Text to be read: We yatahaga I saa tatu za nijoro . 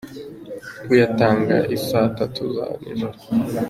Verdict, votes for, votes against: rejected, 0, 2